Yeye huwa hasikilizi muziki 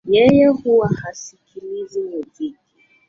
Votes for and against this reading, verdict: 1, 2, rejected